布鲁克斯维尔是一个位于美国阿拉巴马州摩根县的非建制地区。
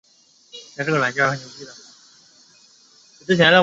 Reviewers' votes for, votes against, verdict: 0, 2, rejected